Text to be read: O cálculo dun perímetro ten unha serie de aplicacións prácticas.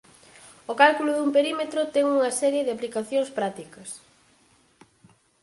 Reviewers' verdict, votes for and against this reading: accepted, 4, 2